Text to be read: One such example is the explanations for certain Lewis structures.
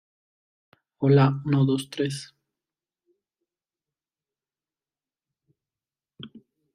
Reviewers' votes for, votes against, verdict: 0, 2, rejected